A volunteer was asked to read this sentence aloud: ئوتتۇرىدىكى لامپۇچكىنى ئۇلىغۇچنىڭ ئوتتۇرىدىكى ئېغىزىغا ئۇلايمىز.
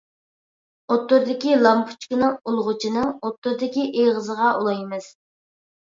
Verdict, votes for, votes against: rejected, 0, 2